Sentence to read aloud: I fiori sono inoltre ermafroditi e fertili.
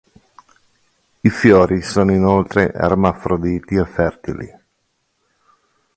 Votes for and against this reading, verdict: 2, 0, accepted